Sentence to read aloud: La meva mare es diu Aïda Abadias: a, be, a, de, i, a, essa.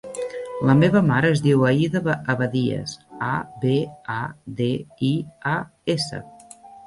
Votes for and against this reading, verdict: 0, 2, rejected